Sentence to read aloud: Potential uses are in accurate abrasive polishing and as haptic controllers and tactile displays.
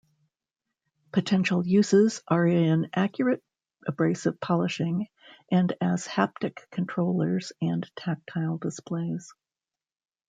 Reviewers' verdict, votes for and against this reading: accepted, 2, 0